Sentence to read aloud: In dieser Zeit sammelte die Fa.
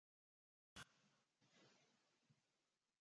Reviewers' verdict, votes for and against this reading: rejected, 0, 2